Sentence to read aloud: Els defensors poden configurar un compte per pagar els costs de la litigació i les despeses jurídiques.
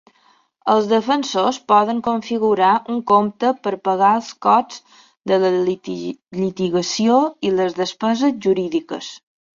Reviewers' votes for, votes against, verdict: 0, 2, rejected